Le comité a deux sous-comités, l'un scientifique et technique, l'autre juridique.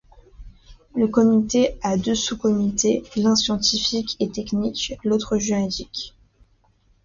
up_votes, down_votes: 2, 0